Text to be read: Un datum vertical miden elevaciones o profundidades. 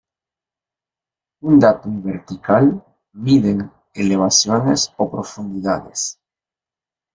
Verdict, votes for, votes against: accepted, 2, 0